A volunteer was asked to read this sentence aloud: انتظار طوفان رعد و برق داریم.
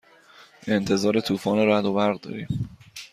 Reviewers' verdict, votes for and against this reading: accepted, 2, 0